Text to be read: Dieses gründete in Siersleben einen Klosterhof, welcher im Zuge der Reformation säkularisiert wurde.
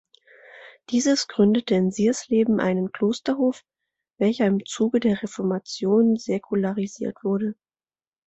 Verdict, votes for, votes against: accepted, 2, 0